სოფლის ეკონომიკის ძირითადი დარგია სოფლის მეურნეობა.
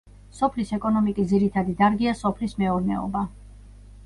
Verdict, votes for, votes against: accepted, 2, 0